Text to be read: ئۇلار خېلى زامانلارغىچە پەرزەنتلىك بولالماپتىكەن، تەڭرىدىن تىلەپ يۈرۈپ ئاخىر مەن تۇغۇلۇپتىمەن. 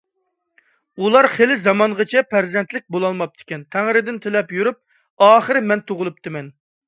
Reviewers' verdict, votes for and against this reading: rejected, 0, 2